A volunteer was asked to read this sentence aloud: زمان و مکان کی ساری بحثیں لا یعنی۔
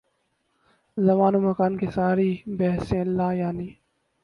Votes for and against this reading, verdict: 0, 2, rejected